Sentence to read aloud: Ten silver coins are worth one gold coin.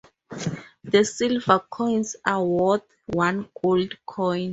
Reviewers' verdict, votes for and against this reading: rejected, 2, 2